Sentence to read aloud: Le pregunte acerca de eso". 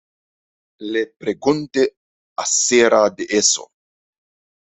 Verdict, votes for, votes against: rejected, 0, 2